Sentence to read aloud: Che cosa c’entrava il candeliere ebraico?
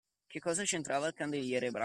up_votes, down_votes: 0, 2